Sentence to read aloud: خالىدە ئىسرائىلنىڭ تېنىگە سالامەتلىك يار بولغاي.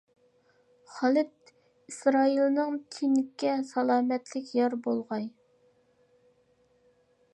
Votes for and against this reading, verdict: 0, 2, rejected